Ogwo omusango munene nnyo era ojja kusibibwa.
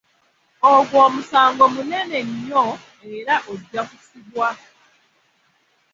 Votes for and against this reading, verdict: 0, 2, rejected